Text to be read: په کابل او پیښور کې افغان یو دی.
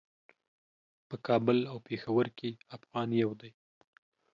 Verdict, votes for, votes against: accepted, 2, 1